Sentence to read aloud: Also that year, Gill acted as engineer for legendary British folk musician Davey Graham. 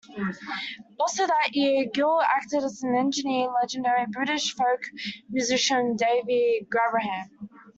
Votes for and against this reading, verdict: 0, 2, rejected